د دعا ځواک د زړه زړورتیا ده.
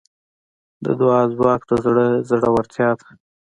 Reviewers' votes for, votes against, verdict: 2, 0, accepted